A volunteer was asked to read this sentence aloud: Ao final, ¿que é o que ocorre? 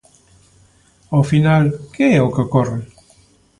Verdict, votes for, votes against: accepted, 2, 0